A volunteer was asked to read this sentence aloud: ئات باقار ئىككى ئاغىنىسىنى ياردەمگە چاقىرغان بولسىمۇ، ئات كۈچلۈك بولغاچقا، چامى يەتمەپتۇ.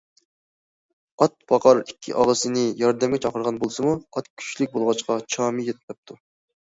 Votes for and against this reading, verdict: 1, 2, rejected